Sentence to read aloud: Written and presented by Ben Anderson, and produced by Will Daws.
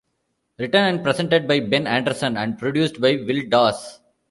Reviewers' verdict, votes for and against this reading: accepted, 2, 1